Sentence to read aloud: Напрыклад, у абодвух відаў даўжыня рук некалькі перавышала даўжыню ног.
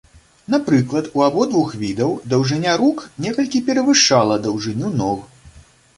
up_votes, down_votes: 2, 0